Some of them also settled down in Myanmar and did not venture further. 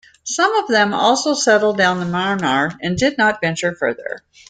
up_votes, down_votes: 2, 0